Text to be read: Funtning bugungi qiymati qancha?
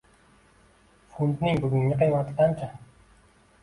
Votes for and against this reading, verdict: 2, 0, accepted